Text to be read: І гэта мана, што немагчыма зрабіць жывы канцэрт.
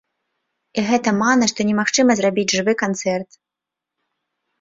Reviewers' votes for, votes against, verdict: 1, 2, rejected